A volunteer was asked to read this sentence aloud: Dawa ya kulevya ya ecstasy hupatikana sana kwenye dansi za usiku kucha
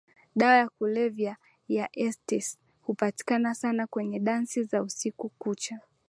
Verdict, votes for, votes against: accepted, 2, 0